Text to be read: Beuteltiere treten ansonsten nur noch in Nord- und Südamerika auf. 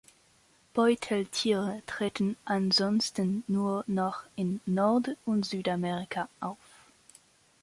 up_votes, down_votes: 2, 0